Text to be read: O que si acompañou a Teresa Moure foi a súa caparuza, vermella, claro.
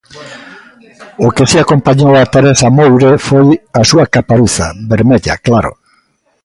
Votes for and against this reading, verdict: 2, 0, accepted